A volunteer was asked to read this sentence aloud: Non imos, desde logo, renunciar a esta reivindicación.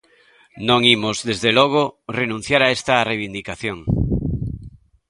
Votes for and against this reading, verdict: 2, 0, accepted